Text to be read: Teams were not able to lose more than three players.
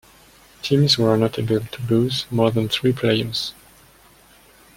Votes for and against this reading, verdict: 2, 0, accepted